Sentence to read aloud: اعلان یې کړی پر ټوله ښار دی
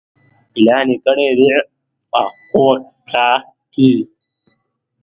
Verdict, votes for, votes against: rejected, 0, 2